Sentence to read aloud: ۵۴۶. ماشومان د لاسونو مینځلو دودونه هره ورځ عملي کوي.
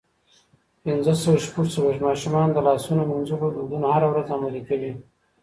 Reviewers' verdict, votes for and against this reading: rejected, 0, 2